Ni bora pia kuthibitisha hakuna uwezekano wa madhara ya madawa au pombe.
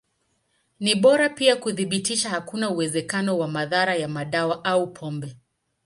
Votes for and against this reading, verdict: 2, 0, accepted